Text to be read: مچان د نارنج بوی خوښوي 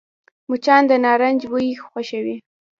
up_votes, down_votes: 2, 1